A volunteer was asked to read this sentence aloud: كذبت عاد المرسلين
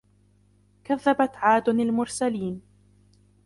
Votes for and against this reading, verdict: 2, 0, accepted